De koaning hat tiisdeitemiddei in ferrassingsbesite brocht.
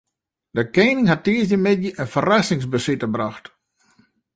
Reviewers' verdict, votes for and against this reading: rejected, 0, 2